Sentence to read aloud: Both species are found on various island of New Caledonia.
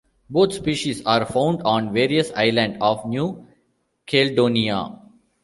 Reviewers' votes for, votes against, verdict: 1, 2, rejected